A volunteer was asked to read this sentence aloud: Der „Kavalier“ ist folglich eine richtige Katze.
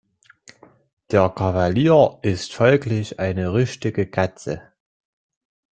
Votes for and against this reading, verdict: 1, 2, rejected